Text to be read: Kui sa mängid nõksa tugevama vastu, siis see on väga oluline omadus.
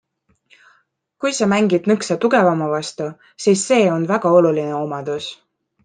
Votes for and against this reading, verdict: 2, 0, accepted